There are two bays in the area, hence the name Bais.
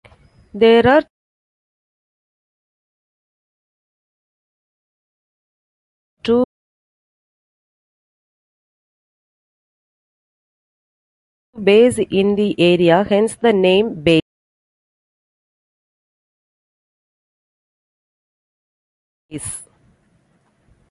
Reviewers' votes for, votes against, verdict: 0, 2, rejected